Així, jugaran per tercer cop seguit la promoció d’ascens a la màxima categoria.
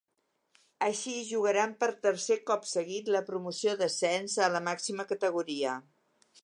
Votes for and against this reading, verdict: 2, 0, accepted